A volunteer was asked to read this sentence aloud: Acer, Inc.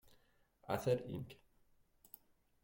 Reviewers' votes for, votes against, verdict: 0, 2, rejected